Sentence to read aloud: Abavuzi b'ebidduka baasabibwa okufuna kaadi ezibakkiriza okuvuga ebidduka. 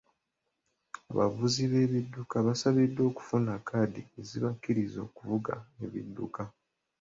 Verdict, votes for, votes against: rejected, 0, 2